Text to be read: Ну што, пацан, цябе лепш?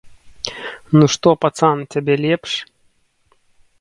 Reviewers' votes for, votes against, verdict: 2, 0, accepted